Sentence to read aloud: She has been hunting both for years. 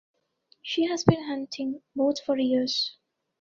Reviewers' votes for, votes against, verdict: 2, 0, accepted